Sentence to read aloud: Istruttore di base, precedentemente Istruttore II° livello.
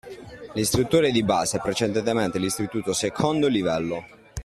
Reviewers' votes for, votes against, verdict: 1, 2, rejected